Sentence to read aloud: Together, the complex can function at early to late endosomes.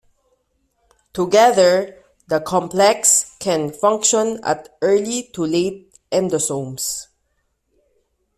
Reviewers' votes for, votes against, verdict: 2, 0, accepted